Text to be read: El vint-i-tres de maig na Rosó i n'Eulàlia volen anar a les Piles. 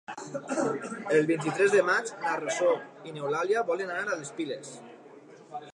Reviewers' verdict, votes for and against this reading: rejected, 0, 2